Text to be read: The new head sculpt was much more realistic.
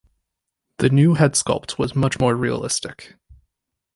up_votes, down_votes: 2, 0